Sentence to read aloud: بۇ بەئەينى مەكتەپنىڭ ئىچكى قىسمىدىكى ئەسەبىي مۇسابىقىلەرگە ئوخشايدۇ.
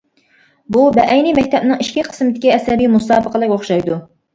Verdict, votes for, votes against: rejected, 0, 2